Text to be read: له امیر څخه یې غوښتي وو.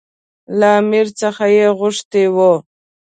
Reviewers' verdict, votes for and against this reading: accepted, 2, 0